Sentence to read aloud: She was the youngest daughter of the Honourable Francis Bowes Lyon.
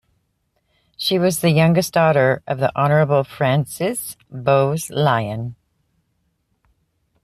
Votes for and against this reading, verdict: 2, 0, accepted